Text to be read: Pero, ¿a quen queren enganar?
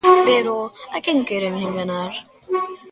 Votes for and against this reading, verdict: 1, 2, rejected